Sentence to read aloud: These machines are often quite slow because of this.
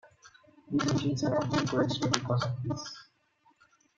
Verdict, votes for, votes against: rejected, 0, 2